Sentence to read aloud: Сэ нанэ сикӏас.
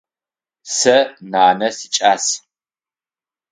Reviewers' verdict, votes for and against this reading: accepted, 6, 0